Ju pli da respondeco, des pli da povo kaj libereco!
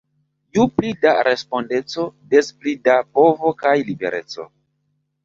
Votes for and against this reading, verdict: 0, 2, rejected